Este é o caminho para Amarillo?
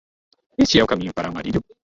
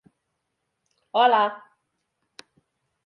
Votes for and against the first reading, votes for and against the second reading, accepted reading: 2, 0, 0, 2, first